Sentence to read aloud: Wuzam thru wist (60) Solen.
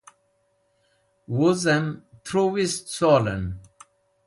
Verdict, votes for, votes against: rejected, 0, 2